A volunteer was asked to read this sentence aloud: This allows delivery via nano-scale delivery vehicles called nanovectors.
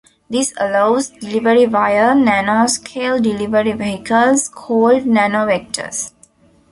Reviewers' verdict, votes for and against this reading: accepted, 2, 0